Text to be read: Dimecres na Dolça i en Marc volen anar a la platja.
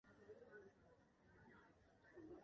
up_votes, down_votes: 0, 2